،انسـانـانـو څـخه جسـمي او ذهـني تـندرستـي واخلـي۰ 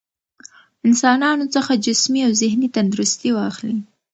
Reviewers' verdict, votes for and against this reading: rejected, 0, 2